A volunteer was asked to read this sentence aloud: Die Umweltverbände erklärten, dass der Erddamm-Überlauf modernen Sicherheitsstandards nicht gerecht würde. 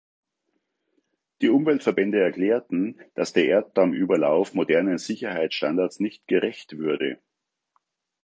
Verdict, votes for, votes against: accepted, 2, 1